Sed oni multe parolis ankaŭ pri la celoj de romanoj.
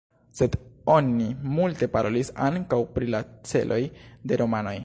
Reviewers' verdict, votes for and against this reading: rejected, 1, 2